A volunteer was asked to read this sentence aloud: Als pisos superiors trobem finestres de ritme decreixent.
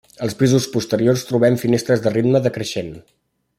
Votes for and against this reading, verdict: 1, 2, rejected